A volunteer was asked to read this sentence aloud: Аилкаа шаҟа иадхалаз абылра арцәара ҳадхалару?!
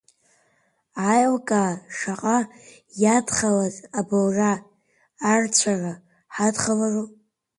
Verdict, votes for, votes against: rejected, 0, 2